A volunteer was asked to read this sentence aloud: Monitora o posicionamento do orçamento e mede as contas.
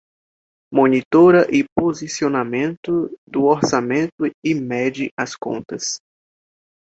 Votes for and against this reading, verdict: 0, 2, rejected